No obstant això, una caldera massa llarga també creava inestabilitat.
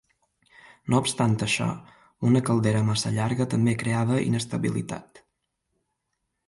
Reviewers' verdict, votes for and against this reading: accepted, 3, 0